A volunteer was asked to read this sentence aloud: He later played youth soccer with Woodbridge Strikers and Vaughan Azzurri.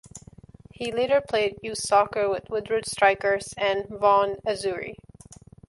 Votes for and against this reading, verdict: 2, 0, accepted